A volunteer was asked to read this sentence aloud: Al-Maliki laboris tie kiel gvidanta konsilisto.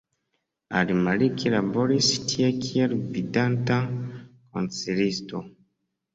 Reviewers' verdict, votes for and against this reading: accepted, 2, 0